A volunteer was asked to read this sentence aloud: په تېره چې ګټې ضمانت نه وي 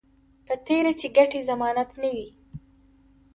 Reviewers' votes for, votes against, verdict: 2, 1, accepted